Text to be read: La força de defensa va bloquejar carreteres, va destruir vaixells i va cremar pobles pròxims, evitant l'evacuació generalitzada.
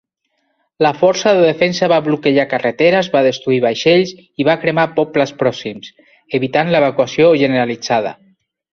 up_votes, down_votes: 2, 0